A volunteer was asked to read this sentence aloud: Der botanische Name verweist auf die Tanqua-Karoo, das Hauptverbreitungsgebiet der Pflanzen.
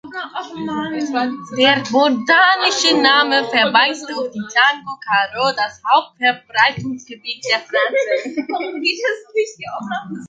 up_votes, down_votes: 0, 3